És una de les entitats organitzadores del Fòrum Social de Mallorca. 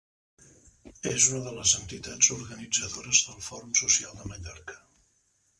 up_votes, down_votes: 0, 2